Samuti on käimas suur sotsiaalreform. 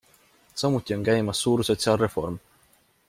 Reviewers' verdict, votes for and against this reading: accepted, 2, 0